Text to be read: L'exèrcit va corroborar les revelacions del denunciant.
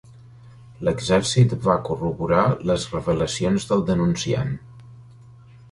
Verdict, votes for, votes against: accepted, 3, 0